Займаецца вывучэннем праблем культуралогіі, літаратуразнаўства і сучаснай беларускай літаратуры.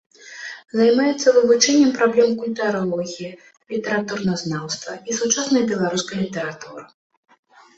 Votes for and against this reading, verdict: 0, 2, rejected